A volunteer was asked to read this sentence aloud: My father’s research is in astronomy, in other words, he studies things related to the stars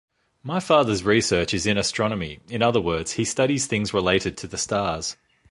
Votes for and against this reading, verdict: 2, 0, accepted